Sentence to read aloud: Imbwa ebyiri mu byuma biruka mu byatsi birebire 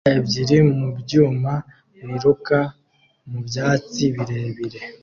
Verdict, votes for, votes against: rejected, 1, 2